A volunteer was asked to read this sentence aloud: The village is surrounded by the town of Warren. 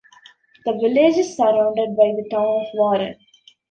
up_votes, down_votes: 1, 2